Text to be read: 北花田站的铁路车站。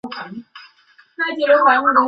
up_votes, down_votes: 2, 2